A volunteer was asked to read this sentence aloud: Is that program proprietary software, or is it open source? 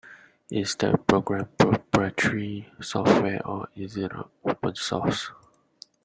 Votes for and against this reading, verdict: 1, 2, rejected